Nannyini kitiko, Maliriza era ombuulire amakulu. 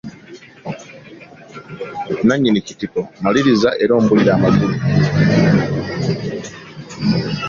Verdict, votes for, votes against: accepted, 2, 0